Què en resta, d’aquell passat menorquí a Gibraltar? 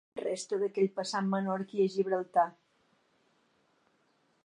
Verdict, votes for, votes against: rejected, 1, 2